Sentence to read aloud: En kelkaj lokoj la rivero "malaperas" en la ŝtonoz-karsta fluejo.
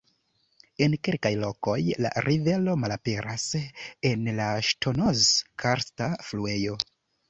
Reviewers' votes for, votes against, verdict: 1, 2, rejected